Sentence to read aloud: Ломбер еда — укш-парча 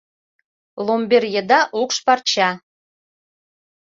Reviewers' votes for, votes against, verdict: 2, 0, accepted